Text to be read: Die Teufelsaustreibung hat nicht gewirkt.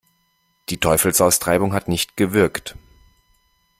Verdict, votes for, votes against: accepted, 2, 0